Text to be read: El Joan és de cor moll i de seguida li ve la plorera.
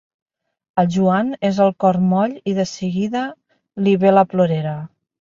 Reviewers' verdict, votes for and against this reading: rejected, 1, 2